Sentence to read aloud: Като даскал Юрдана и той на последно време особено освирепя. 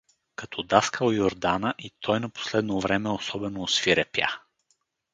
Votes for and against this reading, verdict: 4, 0, accepted